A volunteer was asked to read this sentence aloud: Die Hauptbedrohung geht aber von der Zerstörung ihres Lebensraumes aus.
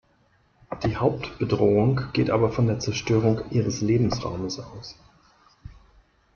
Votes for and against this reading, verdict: 0, 2, rejected